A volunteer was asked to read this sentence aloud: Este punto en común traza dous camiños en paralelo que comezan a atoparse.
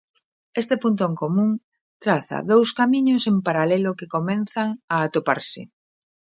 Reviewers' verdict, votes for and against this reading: rejected, 0, 2